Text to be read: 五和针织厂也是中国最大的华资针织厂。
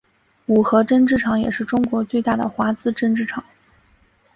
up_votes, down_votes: 2, 2